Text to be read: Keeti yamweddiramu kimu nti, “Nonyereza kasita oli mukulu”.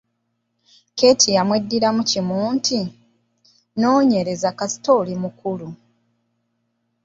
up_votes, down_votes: 2, 1